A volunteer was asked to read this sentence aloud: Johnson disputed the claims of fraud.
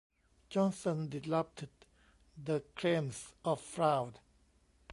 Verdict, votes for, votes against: rejected, 0, 2